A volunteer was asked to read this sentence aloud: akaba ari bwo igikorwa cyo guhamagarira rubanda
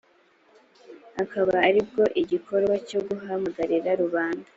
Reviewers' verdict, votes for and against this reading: accepted, 2, 0